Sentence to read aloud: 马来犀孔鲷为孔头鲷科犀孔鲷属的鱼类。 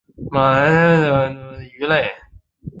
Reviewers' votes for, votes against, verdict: 3, 7, rejected